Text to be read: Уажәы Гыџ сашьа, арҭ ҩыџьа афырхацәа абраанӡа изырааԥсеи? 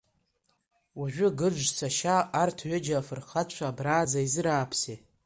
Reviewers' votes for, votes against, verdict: 2, 1, accepted